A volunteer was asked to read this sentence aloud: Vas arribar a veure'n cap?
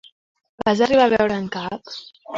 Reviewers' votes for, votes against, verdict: 4, 1, accepted